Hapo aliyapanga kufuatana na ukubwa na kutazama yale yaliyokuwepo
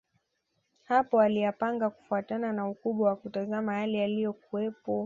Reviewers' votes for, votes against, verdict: 2, 0, accepted